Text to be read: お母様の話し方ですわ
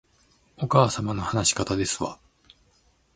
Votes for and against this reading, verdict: 2, 0, accepted